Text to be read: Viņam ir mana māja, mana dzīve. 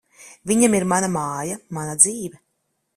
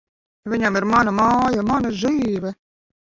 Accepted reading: first